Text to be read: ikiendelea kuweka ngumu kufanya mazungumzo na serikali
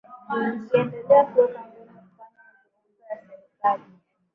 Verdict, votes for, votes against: rejected, 0, 2